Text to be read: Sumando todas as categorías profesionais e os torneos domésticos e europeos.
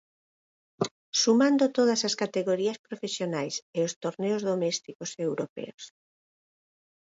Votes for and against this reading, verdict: 8, 0, accepted